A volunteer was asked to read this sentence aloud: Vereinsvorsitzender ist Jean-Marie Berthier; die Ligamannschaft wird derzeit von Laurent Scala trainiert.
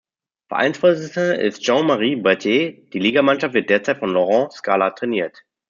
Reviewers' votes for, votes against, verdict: 1, 2, rejected